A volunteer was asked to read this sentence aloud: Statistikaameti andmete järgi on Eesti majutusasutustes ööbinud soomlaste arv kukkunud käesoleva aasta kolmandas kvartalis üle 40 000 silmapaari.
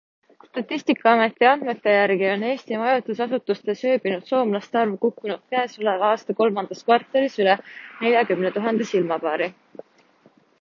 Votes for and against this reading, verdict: 0, 2, rejected